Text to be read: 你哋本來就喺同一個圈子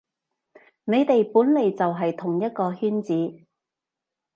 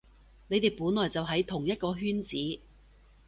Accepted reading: second